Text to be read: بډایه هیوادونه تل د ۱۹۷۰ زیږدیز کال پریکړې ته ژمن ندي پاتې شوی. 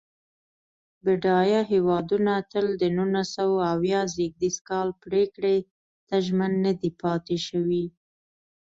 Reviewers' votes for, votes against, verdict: 0, 2, rejected